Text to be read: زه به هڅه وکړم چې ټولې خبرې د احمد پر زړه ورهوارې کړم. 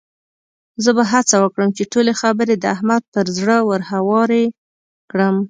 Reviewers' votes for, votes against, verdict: 2, 0, accepted